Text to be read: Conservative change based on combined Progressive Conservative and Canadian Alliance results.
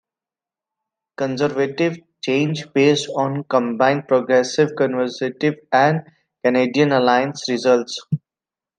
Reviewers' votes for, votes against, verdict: 2, 1, accepted